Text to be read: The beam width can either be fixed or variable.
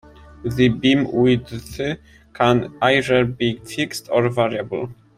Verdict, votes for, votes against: rejected, 0, 2